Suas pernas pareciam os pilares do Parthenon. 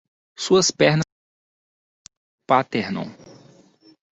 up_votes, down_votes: 0, 2